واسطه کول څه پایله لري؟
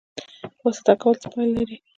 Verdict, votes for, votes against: rejected, 1, 2